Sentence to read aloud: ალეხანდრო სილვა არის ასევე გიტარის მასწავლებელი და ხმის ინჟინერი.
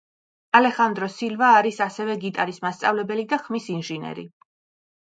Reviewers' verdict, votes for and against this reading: rejected, 0, 2